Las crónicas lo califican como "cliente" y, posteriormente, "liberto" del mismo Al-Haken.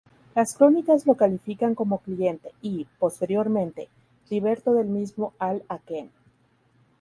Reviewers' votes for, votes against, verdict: 0, 2, rejected